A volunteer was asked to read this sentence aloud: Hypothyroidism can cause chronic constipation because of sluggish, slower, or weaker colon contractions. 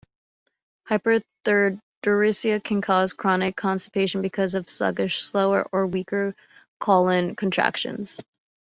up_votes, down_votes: 1, 2